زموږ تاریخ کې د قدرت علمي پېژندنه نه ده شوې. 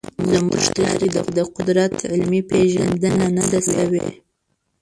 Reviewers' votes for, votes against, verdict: 1, 2, rejected